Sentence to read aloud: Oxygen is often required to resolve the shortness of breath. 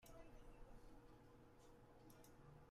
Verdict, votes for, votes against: rejected, 0, 2